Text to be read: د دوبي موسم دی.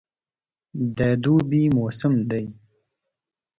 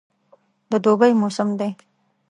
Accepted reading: first